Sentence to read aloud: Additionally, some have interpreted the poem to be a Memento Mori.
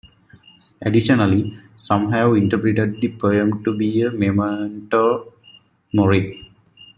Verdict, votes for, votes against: accepted, 2, 0